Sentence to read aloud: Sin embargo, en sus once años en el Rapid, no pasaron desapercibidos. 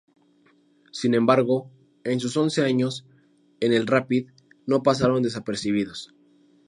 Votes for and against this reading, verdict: 2, 0, accepted